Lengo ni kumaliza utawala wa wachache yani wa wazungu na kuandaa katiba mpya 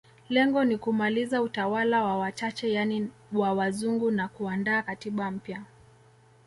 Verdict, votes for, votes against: accepted, 2, 0